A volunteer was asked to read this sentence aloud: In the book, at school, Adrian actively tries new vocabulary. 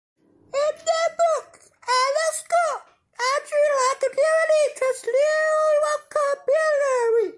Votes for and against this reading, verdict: 0, 2, rejected